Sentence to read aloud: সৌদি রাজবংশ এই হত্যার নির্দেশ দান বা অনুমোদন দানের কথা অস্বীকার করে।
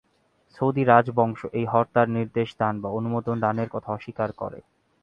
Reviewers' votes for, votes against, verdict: 4, 0, accepted